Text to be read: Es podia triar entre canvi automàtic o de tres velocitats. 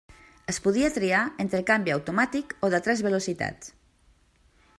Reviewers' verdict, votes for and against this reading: accepted, 2, 0